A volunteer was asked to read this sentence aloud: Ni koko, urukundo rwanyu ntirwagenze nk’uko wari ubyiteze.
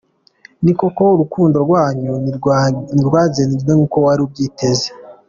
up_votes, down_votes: 2, 1